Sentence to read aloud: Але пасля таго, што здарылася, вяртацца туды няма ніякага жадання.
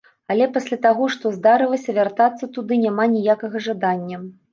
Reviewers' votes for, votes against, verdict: 2, 0, accepted